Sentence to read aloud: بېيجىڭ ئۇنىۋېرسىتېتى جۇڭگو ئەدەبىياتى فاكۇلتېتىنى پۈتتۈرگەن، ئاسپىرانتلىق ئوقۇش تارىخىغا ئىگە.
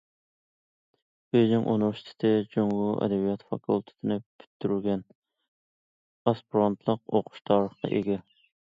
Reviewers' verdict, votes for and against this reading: accepted, 2, 1